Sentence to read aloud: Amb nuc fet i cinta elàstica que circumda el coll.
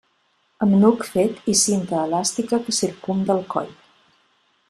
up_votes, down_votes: 2, 0